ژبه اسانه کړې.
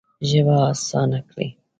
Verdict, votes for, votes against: accepted, 2, 0